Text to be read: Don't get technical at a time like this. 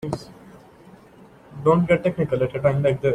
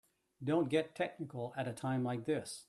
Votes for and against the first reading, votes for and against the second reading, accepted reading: 0, 2, 2, 0, second